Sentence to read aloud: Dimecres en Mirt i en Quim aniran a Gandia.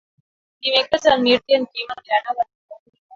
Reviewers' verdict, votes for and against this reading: rejected, 1, 2